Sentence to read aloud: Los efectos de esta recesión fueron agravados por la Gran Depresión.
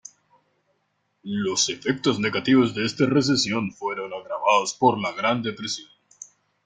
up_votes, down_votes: 0, 2